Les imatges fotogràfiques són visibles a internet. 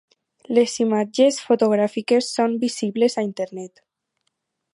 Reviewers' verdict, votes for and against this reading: accepted, 4, 0